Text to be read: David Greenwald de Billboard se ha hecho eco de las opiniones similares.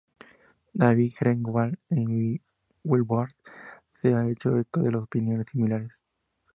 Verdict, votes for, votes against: accepted, 2, 0